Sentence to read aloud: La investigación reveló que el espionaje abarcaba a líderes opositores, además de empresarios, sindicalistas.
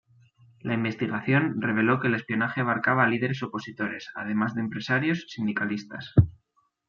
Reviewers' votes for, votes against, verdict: 2, 0, accepted